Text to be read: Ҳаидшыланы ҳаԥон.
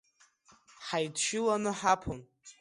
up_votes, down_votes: 0, 2